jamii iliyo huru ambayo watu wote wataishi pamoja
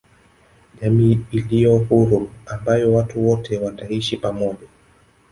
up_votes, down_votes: 0, 2